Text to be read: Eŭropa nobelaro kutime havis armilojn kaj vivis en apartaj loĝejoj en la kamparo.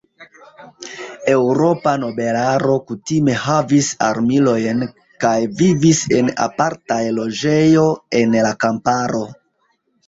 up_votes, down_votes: 0, 2